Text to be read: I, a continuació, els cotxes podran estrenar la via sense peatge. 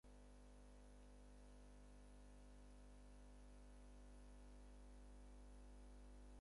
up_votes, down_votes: 0, 4